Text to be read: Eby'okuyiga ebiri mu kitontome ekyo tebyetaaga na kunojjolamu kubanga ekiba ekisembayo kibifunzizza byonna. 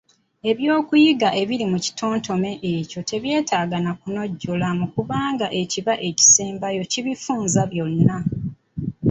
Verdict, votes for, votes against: rejected, 0, 2